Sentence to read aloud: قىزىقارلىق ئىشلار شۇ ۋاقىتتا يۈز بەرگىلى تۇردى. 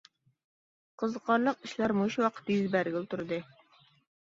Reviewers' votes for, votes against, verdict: 0, 2, rejected